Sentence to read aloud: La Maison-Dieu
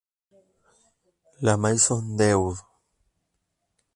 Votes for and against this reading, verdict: 0, 2, rejected